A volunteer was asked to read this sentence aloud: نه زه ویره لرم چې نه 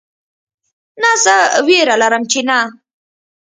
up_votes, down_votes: 2, 0